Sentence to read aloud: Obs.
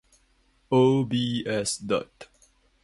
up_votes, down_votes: 0, 2